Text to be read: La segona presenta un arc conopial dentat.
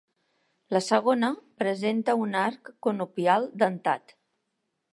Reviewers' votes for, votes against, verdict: 2, 0, accepted